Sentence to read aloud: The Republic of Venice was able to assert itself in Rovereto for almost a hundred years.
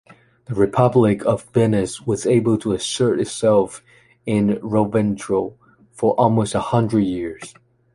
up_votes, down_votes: 1, 2